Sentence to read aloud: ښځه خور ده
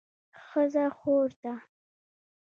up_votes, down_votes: 0, 2